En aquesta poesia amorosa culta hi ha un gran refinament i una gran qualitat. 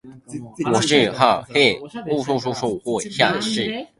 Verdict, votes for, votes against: rejected, 0, 2